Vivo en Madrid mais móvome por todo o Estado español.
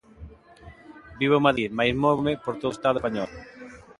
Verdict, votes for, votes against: rejected, 1, 2